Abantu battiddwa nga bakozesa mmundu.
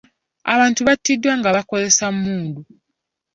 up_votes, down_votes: 2, 0